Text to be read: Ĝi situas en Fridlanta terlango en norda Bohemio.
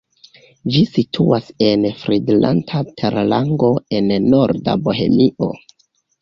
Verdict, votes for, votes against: rejected, 1, 2